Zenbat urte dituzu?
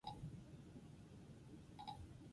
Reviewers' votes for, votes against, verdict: 0, 6, rejected